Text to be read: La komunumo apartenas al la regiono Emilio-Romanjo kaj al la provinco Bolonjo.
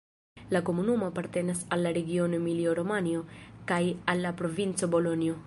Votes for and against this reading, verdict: 1, 2, rejected